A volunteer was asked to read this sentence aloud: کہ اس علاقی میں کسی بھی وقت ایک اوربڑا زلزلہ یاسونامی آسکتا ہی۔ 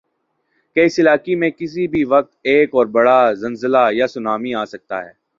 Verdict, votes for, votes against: rejected, 1, 2